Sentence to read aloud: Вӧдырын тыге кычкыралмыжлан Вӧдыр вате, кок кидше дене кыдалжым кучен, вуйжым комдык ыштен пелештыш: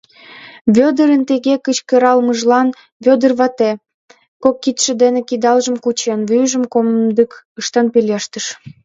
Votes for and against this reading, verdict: 1, 2, rejected